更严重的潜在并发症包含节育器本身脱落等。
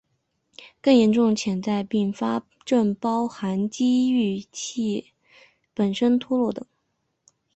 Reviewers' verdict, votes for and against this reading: rejected, 1, 2